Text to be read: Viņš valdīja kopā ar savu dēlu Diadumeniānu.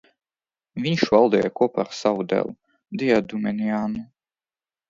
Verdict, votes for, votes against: accepted, 2, 0